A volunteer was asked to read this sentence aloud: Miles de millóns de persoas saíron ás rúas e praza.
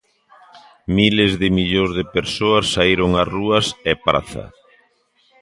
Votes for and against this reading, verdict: 2, 0, accepted